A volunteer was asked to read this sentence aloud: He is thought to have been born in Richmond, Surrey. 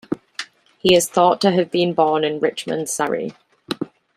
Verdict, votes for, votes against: rejected, 1, 2